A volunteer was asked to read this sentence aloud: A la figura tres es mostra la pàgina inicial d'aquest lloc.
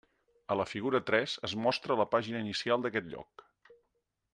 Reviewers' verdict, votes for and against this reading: accepted, 3, 0